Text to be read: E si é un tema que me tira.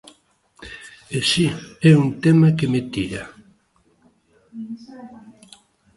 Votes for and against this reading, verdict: 2, 0, accepted